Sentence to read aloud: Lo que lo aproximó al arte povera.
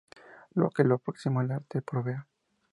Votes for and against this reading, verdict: 0, 2, rejected